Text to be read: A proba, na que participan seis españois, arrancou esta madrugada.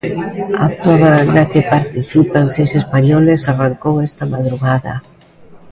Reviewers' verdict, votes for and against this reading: rejected, 0, 2